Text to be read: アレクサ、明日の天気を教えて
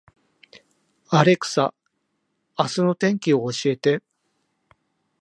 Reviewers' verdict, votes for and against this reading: accepted, 2, 0